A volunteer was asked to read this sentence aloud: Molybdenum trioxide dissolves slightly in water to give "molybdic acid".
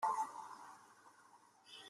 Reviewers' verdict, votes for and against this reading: rejected, 0, 2